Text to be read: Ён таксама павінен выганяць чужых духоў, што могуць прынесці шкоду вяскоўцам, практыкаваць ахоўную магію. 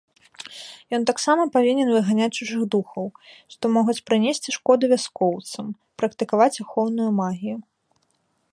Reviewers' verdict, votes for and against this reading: accepted, 2, 1